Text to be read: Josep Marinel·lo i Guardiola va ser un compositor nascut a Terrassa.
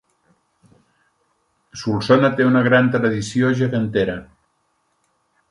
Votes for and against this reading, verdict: 0, 2, rejected